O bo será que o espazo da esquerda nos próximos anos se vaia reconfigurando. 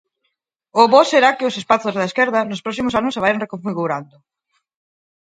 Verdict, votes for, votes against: rejected, 0, 4